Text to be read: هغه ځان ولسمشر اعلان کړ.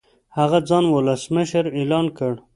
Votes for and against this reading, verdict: 2, 0, accepted